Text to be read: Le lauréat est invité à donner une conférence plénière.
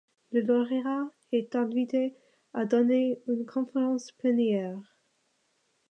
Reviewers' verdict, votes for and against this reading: rejected, 0, 2